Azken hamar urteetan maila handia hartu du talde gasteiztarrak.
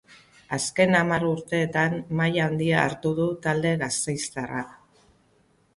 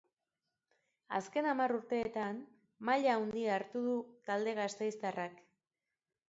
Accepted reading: second